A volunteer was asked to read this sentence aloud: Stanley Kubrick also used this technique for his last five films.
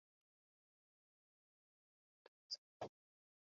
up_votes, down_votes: 0, 2